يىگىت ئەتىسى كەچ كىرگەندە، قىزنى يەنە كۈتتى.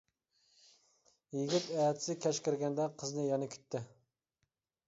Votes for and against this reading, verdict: 2, 1, accepted